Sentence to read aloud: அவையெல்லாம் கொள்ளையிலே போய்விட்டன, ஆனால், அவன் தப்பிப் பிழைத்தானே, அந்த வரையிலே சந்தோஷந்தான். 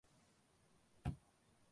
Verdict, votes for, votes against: rejected, 0, 2